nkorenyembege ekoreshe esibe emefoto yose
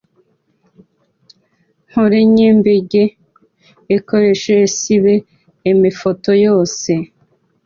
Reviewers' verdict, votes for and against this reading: accepted, 2, 0